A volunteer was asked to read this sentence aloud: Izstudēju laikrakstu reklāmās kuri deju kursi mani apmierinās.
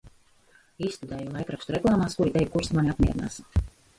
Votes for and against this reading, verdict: 0, 2, rejected